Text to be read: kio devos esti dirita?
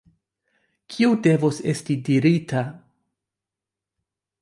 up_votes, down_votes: 2, 0